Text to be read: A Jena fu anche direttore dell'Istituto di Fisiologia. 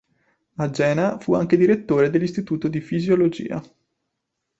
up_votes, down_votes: 2, 0